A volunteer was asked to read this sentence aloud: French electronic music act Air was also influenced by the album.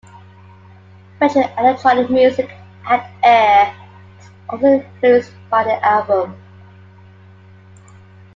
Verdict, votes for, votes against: rejected, 0, 2